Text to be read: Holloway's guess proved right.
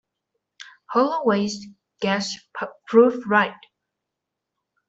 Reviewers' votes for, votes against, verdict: 2, 1, accepted